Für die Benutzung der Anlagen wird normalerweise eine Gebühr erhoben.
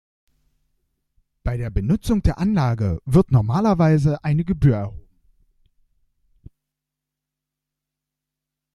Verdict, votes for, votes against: rejected, 0, 2